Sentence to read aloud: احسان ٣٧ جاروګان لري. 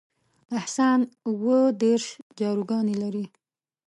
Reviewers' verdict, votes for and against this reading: rejected, 0, 2